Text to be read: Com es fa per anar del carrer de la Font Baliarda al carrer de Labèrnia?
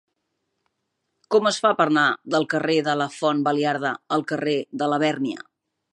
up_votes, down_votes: 0, 2